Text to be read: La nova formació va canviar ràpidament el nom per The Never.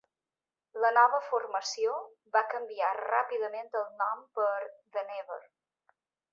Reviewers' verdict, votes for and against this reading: accepted, 2, 0